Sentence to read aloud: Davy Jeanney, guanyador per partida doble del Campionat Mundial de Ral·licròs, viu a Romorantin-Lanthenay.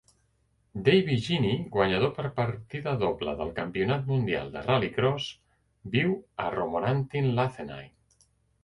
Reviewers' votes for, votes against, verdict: 2, 0, accepted